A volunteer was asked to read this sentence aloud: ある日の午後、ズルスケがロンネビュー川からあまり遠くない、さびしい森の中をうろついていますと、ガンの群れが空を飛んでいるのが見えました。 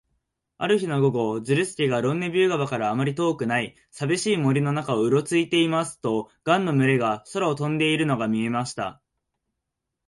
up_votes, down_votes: 2, 1